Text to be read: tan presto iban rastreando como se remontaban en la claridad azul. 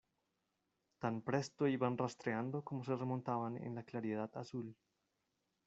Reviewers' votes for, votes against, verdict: 1, 2, rejected